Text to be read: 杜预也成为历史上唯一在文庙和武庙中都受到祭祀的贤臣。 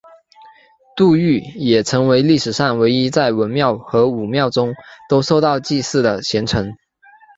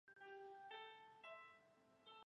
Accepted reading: first